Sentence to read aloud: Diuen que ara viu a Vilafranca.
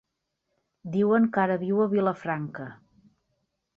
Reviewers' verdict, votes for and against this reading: accepted, 4, 0